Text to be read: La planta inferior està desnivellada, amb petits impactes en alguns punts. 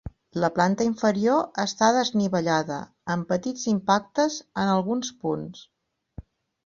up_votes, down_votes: 6, 0